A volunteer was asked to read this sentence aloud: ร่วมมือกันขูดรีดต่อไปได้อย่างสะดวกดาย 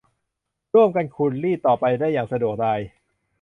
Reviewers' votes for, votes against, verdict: 0, 2, rejected